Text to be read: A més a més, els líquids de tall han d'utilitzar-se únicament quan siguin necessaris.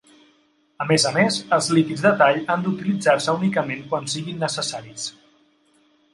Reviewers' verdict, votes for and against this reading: accepted, 3, 0